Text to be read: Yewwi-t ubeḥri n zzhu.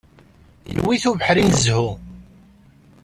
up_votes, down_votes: 2, 0